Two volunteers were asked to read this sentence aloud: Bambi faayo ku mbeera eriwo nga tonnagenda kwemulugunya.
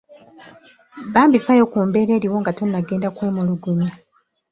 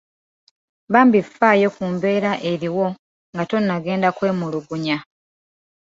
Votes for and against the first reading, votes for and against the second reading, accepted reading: 1, 2, 2, 0, second